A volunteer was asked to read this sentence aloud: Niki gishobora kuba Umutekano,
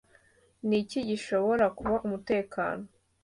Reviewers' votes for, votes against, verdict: 2, 0, accepted